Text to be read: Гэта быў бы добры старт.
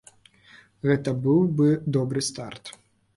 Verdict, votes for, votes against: accepted, 2, 0